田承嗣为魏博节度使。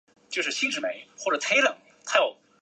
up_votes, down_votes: 1, 2